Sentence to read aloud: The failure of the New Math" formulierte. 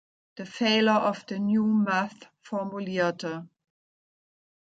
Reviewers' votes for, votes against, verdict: 2, 0, accepted